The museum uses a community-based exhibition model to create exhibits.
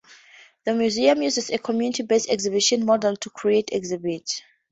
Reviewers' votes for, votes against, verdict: 2, 0, accepted